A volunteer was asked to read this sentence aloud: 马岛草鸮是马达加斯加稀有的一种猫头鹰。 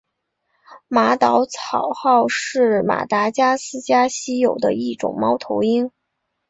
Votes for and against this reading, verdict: 3, 1, accepted